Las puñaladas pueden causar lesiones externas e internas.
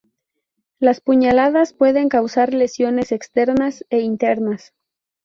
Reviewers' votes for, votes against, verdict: 2, 0, accepted